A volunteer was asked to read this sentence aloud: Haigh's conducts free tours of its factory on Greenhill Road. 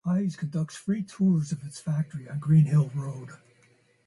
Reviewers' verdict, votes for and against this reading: accepted, 2, 0